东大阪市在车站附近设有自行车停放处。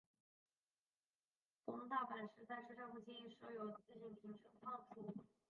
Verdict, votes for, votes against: rejected, 0, 2